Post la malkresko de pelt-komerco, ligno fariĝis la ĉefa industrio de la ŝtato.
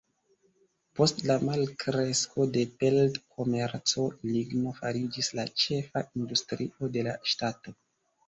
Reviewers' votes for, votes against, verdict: 2, 1, accepted